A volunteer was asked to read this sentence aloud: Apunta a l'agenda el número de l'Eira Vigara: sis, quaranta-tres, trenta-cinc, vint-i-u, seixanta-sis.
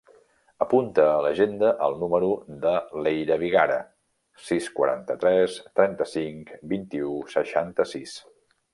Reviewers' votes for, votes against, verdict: 3, 0, accepted